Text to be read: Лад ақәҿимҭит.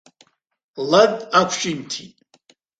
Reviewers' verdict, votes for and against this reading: accepted, 2, 0